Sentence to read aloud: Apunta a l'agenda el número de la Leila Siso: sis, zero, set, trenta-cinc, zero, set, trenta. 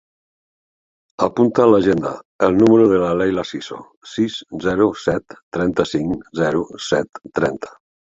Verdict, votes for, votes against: accepted, 2, 0